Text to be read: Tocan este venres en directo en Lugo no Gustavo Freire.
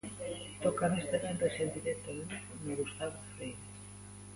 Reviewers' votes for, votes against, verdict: 1, 2, rejected